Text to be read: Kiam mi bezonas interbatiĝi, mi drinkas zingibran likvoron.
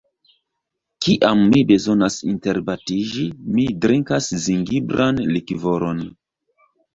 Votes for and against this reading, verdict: 3, 0, accepted